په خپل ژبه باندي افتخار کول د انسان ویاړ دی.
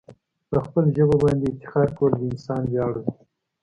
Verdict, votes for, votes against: accepted, 3, 0